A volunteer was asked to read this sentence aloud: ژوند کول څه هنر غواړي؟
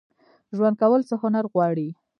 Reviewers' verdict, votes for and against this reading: accepted, 2, 0